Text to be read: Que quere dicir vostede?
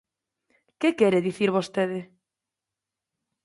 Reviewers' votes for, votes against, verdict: 2, 0, accepted